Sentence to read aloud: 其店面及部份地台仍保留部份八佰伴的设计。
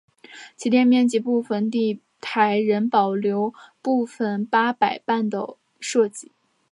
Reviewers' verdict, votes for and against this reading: accepted, 2, 0